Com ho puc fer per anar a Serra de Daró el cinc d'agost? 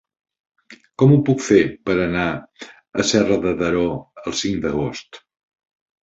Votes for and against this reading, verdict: 3, 0, accepted